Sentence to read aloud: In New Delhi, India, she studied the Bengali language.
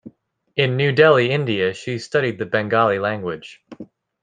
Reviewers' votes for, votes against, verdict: 2, 0, accepted